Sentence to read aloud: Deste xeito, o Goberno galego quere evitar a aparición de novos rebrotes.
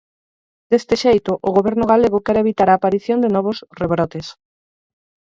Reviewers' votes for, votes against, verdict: 0, 4, rejected